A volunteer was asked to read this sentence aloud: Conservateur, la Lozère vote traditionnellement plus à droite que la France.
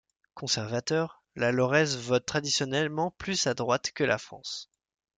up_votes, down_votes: 1, 2